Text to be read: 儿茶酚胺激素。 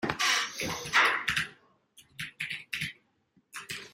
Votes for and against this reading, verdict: 0, 2, rejected